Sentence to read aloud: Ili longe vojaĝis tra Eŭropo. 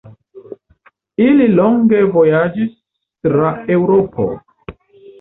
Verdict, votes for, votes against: accepted, 2, 0